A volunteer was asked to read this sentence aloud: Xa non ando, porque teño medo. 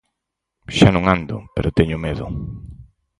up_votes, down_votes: 2, 6